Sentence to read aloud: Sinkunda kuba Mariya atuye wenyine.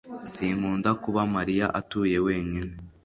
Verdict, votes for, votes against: accepted, 3, 0